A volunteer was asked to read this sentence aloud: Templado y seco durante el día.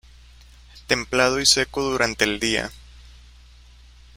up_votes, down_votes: 2, 0